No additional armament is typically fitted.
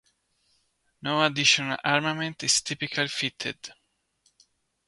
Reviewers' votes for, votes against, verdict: 1, 3, rejected